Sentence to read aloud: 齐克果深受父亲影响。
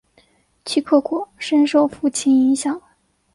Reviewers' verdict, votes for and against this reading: accepted, 3, 0